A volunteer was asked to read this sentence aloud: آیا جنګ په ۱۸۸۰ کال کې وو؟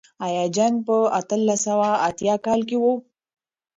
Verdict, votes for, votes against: rejected, 0, 2